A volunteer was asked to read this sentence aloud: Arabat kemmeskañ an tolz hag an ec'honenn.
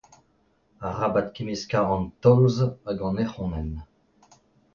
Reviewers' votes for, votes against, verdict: 2, 0, accepted